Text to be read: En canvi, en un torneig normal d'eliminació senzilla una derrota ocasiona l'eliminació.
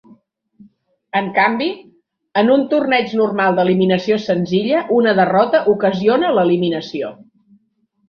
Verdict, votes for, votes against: accepted, 7, 0